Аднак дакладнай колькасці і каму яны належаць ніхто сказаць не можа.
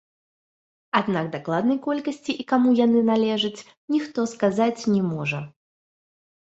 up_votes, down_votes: 2, 1